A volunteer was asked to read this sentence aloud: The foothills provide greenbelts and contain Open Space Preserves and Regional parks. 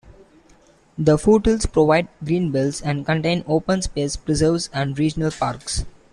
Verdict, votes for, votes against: rejected, 1, 2